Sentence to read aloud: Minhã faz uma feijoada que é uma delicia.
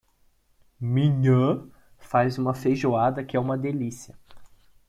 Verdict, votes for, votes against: rejected, 0, 2